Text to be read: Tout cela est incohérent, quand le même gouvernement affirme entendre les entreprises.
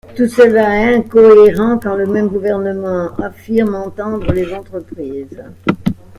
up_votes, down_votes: 0, 2